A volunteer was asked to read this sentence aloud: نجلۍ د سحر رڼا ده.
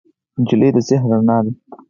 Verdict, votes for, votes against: rejected, 2, 4